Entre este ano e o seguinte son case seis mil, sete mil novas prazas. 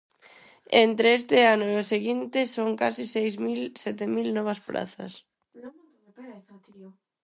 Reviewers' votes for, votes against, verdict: 0, 6, rejected